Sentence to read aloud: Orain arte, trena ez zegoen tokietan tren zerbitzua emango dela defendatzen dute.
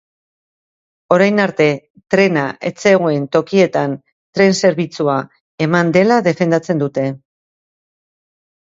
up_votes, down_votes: 0, 2